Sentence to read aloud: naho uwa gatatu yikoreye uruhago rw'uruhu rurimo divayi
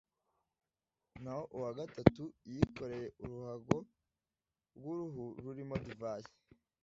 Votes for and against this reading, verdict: 2, 0, accepted